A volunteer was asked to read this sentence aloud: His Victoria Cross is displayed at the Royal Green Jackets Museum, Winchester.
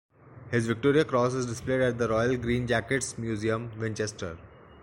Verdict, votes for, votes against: accepted, 2, 0